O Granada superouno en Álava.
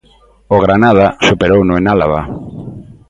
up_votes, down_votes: 3, 0